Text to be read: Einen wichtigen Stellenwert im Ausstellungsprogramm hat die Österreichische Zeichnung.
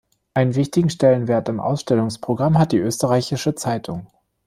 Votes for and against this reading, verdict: 1, 2, rejected